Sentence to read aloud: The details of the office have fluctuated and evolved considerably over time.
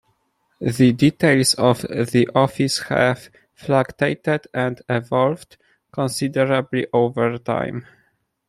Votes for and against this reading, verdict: 0, 2, rejected